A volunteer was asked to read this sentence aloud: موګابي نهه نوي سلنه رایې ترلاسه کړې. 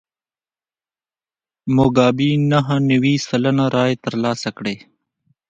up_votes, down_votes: 1, 2